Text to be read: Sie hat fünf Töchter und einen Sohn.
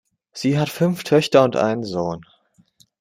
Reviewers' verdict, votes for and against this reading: accepted, 2, 0